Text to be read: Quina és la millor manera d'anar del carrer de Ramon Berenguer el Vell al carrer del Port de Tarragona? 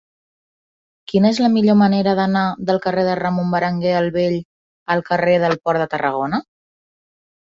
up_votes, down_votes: 2, 0